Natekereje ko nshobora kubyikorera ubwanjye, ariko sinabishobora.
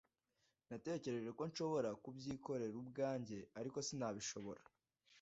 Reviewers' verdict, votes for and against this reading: rejected, 1, 2